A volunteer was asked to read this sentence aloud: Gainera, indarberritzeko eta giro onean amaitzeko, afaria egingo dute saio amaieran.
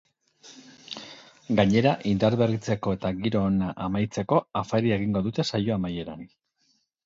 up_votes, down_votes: 2, 4